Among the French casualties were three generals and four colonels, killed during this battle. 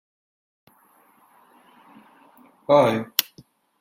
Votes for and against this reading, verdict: 0, 2, rejected